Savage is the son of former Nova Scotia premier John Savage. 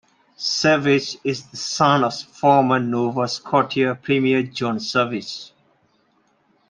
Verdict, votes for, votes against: rejected, 1, 2